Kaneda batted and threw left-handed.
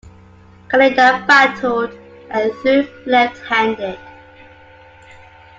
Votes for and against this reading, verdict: 2, 1, accepted